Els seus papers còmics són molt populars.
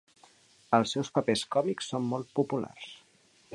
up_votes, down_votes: 2, 0